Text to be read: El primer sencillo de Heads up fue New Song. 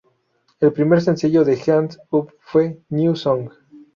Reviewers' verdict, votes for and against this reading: rejected, 0, 2